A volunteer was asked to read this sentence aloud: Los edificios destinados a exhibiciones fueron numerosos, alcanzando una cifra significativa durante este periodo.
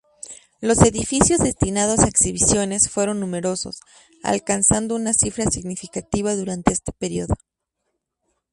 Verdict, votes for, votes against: accepted, 2, 0